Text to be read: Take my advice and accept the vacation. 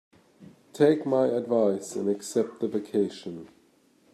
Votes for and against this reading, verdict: 2, 0, accepted